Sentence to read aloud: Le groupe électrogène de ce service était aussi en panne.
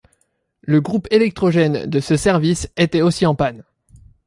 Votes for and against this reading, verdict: 2, 0, accepted